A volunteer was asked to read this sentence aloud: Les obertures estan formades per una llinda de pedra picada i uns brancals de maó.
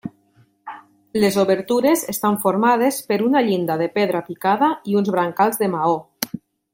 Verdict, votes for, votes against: accepted, 3, 0